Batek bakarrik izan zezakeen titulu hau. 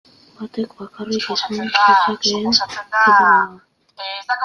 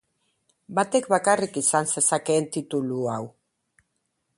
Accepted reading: second